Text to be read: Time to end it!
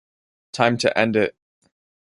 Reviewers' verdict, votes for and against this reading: accepted, 2, 0